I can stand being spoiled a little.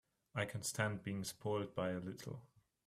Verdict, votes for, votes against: rejected, 0, 3